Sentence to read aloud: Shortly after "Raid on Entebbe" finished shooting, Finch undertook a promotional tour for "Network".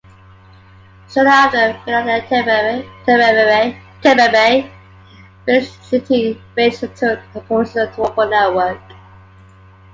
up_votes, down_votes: 1, 2